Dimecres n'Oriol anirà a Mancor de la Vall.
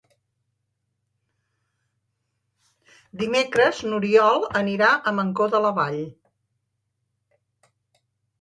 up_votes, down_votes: 2, 0